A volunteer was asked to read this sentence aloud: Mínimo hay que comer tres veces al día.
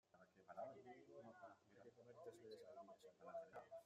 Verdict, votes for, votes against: rejected, 0, 2